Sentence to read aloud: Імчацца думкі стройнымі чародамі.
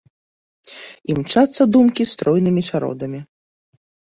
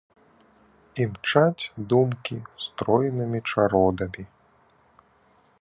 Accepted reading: first